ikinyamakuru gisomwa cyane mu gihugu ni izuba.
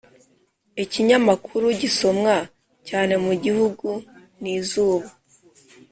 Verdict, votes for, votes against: accepted, 3, 0